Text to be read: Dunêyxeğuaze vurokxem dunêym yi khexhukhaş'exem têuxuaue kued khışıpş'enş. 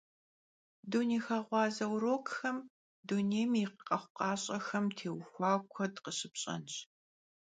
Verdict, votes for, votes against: accepted, 2, 0